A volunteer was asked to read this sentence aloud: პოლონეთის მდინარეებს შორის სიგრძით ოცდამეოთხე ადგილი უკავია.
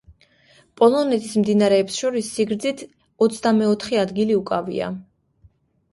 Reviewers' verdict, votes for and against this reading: accepted, 2, 0